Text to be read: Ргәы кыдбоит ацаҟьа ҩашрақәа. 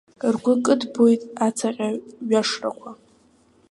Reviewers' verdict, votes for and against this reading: rejected, 0, 2